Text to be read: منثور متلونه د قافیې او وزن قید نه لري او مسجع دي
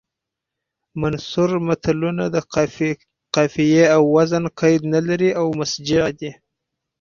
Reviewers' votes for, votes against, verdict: 4, 0, accepted